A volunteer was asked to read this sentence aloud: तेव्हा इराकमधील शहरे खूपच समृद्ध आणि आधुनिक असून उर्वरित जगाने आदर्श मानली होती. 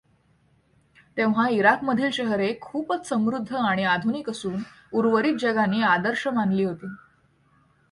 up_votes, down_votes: 2, 0